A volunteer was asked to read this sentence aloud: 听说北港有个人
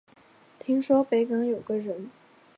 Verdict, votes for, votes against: accepted, 2, 0